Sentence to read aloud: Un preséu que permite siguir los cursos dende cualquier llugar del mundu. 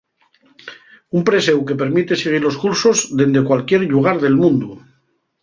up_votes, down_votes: 2, 2